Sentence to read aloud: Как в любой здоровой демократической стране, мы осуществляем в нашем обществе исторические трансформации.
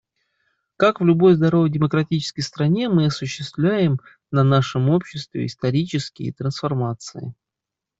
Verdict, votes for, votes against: rejected, 0, 2